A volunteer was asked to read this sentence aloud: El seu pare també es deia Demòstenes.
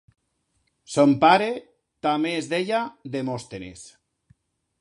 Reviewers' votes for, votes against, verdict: 1, 2, rejected